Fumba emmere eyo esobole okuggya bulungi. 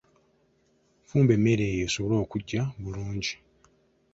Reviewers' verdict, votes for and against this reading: accepted, 2, 0